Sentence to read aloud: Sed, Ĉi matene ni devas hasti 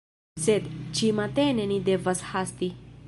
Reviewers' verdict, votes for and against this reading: accepted, 2, 0